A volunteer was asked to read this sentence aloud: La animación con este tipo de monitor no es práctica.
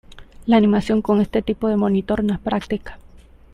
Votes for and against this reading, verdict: 2, 0, accepted